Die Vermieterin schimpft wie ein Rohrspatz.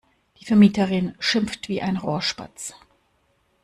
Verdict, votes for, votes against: rejected, 1, 2